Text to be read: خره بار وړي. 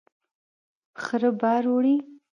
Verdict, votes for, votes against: accepted, 2, 1